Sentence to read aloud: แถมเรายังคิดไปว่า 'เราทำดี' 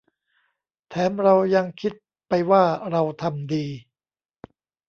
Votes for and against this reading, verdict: 2, 0, accepted